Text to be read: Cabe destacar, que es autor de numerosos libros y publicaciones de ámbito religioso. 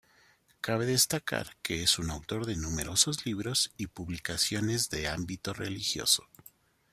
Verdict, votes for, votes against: rejected, 0, 2